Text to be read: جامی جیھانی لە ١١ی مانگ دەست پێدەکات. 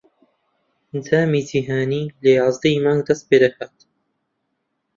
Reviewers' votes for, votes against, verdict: 0, 2, rejected